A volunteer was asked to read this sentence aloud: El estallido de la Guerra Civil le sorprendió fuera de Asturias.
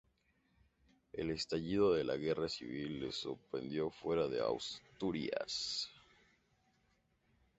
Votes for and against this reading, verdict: 0, 2, rejected